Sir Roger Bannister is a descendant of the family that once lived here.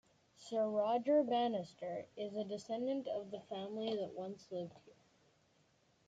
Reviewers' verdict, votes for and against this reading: rejected, 1, 2